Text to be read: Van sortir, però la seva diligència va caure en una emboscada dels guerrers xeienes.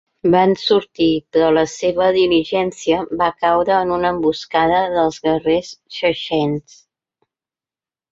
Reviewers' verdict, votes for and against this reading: rejected, 0, 2